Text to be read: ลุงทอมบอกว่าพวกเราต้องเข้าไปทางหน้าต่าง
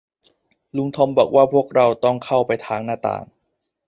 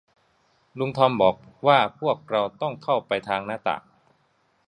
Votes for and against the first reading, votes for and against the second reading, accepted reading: 0, 2, 2, 0, second